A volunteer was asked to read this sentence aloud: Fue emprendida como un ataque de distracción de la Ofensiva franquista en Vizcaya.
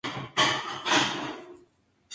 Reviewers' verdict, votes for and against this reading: rejected, 0, 2